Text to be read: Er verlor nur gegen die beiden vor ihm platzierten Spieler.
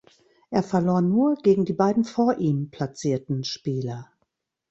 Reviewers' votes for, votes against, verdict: 2, 0, accepted